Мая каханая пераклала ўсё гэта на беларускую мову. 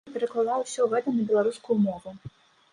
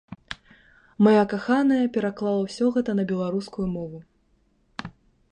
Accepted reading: second